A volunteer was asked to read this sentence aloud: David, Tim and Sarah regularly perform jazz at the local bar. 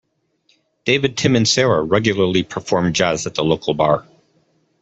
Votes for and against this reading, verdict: 2, 0, accepted